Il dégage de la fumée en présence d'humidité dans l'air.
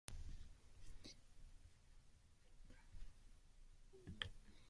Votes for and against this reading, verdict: 0, 2, rejected